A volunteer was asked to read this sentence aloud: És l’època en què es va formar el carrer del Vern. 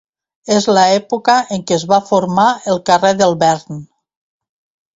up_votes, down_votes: 1, 2